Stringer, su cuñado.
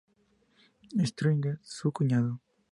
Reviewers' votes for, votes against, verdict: 0, 4, rejected